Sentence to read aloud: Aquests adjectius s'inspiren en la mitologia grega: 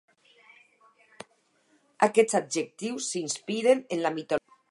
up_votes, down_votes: 0, 4